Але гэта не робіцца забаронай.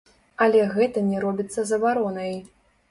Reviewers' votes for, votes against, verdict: 1, 2, rejected